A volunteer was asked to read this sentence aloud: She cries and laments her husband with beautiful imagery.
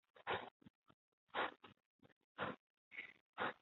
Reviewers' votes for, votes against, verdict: 0, 3, rejected